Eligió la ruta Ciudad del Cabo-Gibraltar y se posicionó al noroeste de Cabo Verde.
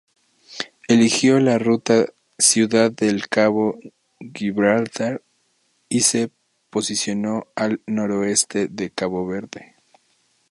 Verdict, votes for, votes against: rejected, 0, 2